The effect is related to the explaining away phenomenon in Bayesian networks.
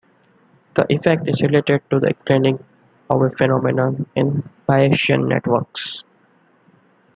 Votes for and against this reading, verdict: 1, 2, rejected